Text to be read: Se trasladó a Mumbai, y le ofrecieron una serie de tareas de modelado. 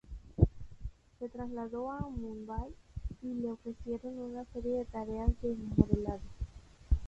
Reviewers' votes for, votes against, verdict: 2, 0, accepted